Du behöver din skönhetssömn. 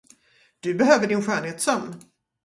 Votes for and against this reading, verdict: 2, 0, accepted